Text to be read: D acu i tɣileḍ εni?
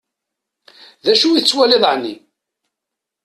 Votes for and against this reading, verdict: 0, 2, rejected